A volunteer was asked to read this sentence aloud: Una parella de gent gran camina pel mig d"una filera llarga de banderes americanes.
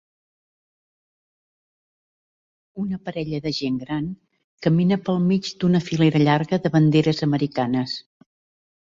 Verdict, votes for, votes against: accepted, 4, 0